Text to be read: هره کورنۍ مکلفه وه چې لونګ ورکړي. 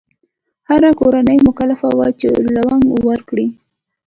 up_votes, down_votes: 2, 1